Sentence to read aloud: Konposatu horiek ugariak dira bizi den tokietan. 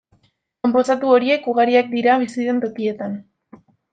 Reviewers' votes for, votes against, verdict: 2, 0, accepted